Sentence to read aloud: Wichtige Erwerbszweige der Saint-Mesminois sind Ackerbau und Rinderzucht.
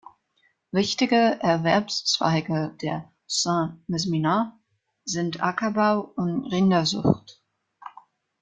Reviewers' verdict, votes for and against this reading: rejected, 1, 2